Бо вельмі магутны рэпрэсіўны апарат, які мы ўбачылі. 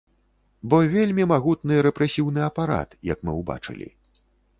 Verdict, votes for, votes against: rejected, 0, 3